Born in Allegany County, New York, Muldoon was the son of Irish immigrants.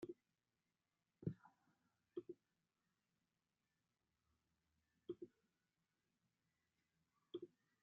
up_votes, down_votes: 0, 2